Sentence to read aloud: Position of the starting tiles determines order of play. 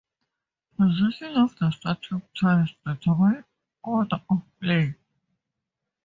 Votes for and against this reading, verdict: 2, 2, rejected